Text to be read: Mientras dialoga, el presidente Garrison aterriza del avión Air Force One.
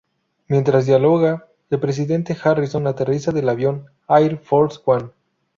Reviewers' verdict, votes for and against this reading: rejected, 0, 2